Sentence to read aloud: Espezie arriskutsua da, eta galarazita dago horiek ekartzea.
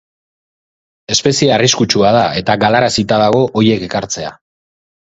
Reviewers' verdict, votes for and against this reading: rejected, 2, 2